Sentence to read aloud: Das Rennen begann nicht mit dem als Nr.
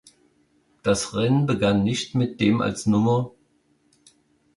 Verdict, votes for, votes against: accepted, 2, 0